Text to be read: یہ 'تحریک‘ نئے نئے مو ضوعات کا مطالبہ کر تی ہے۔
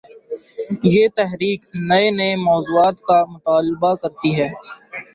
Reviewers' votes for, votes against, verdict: 1, 2, rejected